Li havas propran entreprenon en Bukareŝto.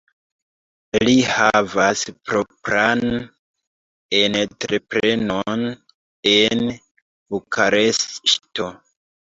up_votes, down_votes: 0, 2